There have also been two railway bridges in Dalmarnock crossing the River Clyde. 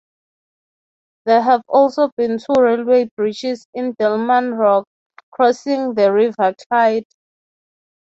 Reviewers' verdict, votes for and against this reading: rejected, 0, 3